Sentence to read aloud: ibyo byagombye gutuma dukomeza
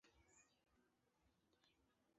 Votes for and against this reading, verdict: 0, 2, rejected